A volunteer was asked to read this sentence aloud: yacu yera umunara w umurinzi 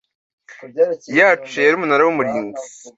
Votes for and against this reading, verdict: 2, 0, accepted